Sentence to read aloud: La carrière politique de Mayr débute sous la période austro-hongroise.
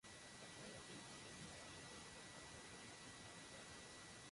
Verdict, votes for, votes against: rejected, 0, 2